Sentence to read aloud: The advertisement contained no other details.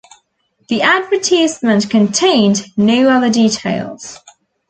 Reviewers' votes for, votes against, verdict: 2, 1, accepted